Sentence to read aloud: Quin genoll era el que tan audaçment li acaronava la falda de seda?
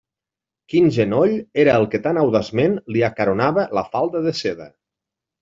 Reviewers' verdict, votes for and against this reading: rejected, 1, 2